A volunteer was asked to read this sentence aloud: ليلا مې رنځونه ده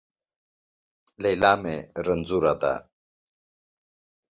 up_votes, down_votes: 2, 0